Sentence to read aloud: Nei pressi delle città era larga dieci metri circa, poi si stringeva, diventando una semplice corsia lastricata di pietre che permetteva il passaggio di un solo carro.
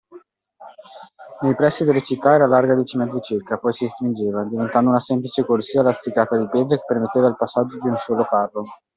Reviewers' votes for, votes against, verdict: 2, 1, accepted